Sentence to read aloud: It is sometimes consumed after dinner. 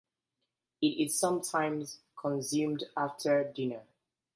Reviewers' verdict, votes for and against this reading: accepted, 2, 0